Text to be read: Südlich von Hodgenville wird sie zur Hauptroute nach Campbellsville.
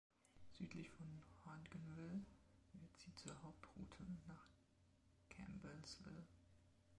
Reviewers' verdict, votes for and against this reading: rejected, 0, 2